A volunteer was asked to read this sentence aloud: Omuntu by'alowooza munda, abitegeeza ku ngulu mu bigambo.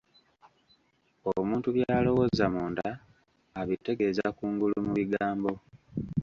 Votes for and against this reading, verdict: 1, 2, rejected